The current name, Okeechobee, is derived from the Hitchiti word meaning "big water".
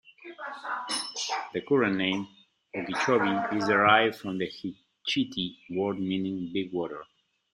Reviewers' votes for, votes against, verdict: 2, 0, accepted